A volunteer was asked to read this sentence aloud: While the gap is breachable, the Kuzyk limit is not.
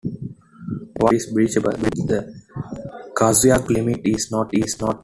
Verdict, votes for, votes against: rejected, 0, 2